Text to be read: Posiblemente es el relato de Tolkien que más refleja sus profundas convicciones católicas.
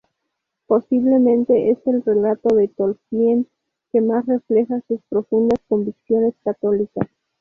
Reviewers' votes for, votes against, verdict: 4, 0, accepted